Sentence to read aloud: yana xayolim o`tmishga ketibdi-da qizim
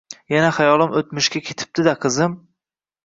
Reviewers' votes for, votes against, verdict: 1, 2, rejected